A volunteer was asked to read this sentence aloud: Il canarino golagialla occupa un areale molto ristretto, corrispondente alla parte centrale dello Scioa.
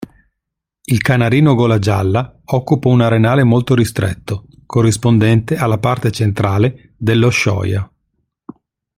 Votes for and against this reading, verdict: 0, 2, rejected